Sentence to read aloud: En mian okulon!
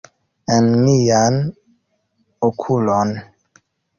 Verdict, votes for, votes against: accepted, 2, 0